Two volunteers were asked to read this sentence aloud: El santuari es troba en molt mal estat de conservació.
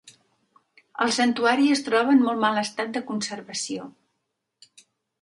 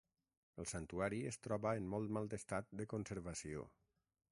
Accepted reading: first